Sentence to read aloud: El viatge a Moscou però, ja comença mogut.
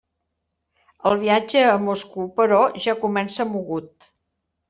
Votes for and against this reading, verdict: 0, 2, rejected